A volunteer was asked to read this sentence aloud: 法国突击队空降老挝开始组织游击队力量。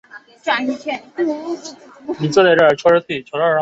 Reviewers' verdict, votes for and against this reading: rejected, 0, 2